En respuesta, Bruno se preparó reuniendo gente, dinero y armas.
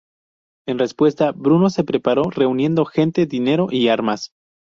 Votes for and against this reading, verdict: 2, 2, rejected